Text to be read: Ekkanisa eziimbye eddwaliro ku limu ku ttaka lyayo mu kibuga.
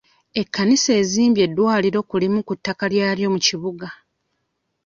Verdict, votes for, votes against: rejected, 0, 2